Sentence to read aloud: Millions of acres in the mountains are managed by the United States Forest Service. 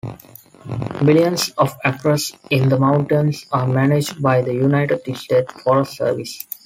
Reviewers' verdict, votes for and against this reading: accepted, 2, 1